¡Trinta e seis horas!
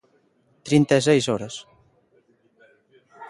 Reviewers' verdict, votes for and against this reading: accepted, 2, 0